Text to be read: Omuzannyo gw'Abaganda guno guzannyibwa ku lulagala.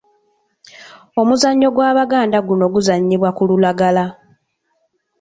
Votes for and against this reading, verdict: 2, 0, accepted